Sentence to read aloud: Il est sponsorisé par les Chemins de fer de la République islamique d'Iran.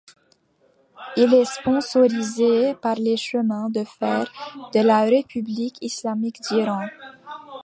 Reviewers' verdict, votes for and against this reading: accepted, 2, 0